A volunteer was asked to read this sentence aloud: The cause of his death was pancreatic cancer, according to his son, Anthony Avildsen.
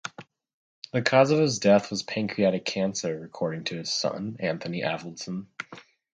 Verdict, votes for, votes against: accepted, 2, 0